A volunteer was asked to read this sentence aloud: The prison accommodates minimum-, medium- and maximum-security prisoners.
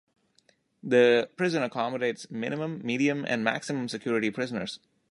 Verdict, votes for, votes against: accepted, 2, 0